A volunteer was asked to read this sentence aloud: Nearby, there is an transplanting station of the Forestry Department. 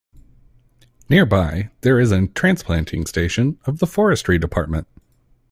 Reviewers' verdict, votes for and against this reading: rejected, 1, 2